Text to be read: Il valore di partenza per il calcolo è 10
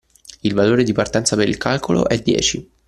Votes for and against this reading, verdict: 0, 2, rejected